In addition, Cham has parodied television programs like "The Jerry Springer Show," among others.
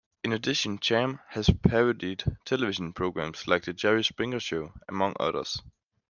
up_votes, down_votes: 2, 0